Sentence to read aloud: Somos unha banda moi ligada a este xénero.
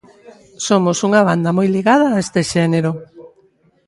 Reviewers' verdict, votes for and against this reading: rejected, 1, 2